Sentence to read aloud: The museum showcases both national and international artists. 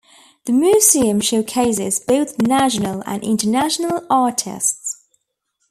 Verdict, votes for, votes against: rejected, 1, 2